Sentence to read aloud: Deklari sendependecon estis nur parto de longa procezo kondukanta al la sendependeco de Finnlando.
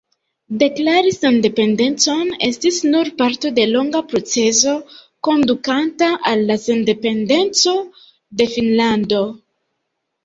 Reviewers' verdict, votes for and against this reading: accepted, 2, 0